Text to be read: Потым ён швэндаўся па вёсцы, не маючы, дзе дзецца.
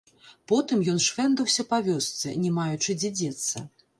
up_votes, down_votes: 1, 3